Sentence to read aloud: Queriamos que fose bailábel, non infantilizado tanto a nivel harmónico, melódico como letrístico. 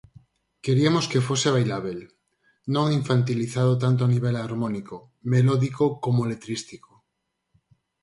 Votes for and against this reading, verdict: 2, 4, rejected